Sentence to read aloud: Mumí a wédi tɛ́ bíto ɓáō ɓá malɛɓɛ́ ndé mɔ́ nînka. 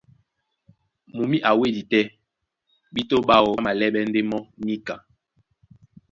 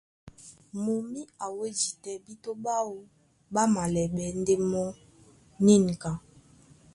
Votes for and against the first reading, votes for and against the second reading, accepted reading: 1, 2, 2, 0, second